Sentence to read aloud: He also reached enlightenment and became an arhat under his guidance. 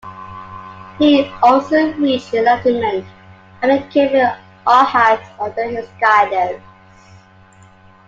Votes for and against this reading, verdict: 2, 1, accepted